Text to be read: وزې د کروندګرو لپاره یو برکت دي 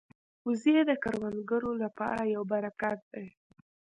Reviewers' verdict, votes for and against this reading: accepted, 2, 0